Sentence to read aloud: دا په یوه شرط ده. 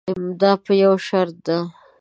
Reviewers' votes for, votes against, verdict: 2, 0, accepted